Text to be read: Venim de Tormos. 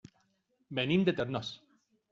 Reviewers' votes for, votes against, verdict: 0, 2, rejected